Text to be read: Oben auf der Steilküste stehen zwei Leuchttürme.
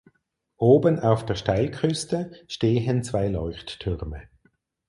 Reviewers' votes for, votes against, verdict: 4, 0, accepted